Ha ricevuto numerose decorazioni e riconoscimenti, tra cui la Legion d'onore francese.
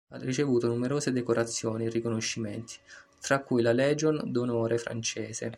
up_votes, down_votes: 0, 2